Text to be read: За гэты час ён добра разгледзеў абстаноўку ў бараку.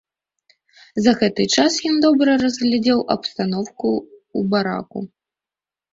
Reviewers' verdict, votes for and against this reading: accepted, 2, 1